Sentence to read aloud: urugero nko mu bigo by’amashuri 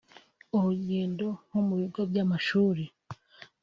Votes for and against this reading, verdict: 1, 2, rejected